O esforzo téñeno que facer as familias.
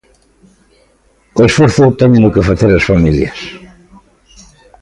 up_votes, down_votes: 2, 0